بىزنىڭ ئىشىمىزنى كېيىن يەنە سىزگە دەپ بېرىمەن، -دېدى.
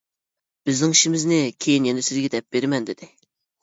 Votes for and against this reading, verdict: 2, 0, accepted